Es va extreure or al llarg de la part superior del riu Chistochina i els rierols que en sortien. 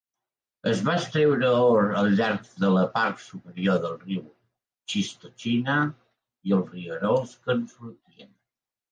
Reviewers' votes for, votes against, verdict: 2, 0, accepted